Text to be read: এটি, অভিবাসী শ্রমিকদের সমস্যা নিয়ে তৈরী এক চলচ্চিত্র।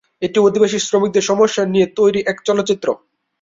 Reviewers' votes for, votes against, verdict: 0, 2, rejected